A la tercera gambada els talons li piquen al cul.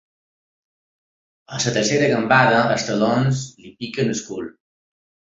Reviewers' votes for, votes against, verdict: 4, 3, accepted